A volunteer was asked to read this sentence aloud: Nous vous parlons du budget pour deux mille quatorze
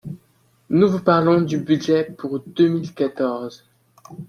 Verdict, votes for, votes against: accepted, 2, 0